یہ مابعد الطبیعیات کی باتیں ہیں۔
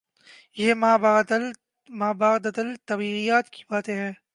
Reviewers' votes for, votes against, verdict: 0, 2, rejected